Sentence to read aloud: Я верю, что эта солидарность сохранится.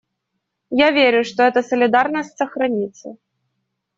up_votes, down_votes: 2, 0